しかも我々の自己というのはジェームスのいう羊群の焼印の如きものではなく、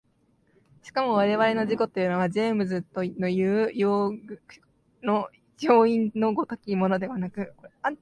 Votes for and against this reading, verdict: 0, 2, rejected